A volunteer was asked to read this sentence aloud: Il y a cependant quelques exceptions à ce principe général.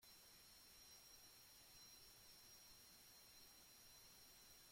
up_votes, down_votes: 0, 2